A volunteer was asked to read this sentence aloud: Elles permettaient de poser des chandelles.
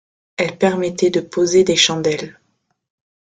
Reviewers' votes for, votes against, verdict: 2, 0, accepted